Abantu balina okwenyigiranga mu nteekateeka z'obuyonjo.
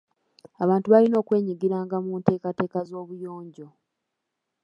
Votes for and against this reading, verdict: 1, 2, rejected